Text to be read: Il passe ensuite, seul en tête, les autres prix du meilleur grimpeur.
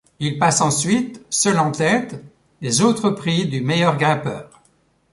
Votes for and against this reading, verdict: 2, 0, accepted